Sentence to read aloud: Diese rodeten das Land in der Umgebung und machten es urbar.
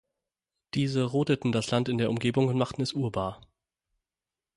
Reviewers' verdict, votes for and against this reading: accepted, 6, 0